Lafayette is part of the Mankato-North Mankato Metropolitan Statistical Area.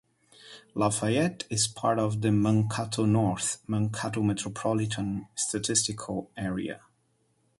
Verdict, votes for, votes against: rejected, 2, 2